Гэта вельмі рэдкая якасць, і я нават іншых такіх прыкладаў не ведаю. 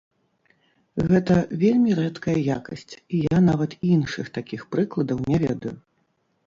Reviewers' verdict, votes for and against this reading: rejected, 0, 3